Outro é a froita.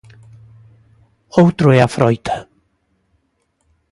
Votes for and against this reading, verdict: 2, 0, accepted